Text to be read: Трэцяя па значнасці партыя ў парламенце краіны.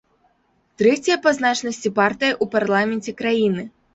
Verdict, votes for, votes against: rejected, 1, 2